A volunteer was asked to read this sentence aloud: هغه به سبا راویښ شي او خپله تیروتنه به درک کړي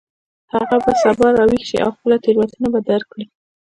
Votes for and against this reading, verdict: 2, 1, accepted